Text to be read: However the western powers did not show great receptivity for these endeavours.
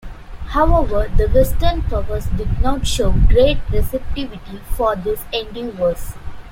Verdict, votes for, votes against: rejected, 0, 2